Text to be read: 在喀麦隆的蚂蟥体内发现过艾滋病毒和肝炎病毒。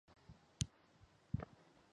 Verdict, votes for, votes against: rejected, 2, 5